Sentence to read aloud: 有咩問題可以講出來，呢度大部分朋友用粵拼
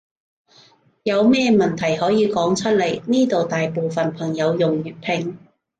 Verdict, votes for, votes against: accepted, 3, 1